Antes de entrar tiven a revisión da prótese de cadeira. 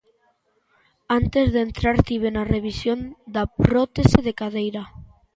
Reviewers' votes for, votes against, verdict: 2, 0, accepted